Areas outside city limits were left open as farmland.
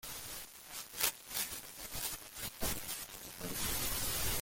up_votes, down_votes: 0, 2